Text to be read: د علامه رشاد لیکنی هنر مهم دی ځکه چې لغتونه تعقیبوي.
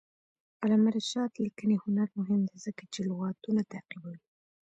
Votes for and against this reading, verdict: 2, 0, accepted